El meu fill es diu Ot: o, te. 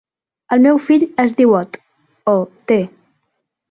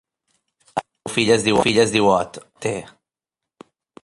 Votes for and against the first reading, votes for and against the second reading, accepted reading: 3, 0, 0, 2, first